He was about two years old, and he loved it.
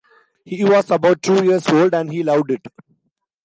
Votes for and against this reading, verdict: 2, 0, accepted